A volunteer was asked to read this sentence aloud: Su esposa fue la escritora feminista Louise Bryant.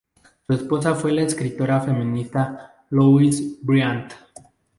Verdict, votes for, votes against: rejected, 0, 4